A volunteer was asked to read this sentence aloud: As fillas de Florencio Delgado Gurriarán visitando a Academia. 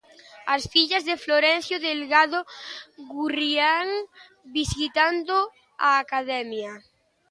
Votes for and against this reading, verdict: 0, 2, rejected